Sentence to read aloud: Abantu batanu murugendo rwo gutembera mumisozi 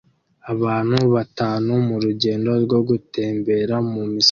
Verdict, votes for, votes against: accepted, 2, 0